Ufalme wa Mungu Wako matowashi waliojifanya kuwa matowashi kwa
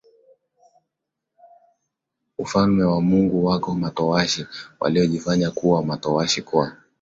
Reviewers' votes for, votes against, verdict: 2, 0, accepted